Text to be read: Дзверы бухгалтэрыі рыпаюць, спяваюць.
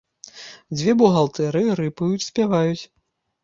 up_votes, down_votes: 0, 2